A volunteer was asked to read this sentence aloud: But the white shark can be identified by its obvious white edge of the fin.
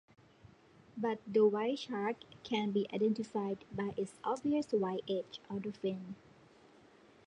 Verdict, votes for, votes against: accepted, 2, 0